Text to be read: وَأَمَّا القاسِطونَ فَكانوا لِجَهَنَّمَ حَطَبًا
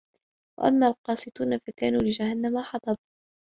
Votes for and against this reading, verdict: 0, 2, rejected